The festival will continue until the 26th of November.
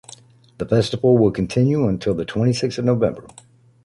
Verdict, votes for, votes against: rejected, 0, 2